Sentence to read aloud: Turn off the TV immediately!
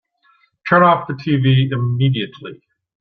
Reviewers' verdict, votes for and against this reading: rejected, 1, 2